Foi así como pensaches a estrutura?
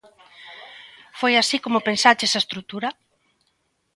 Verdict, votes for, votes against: accepted, 2, 0